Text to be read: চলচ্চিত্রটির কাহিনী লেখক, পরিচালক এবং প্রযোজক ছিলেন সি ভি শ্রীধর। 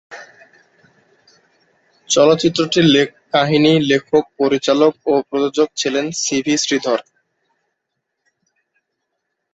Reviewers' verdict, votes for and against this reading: rejected, 18, 23